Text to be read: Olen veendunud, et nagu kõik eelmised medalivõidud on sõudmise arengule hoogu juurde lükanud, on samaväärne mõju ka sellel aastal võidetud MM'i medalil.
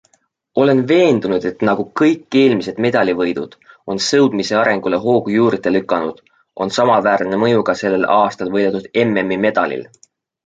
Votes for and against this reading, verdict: 2, 0, accepted